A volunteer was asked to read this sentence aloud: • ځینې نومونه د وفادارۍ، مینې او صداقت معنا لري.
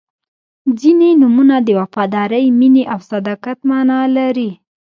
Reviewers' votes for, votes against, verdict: 1, 2, rejected